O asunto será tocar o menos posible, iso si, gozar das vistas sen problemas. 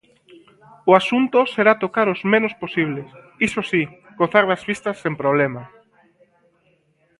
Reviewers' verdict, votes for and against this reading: rejected, 0, 2